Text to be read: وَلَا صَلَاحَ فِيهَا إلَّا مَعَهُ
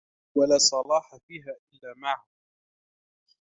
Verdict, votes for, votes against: accepted, 2, 0